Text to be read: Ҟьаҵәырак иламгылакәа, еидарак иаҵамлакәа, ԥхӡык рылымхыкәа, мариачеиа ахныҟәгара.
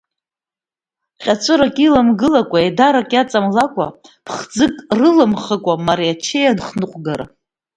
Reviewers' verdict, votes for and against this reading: rejected, 0, 2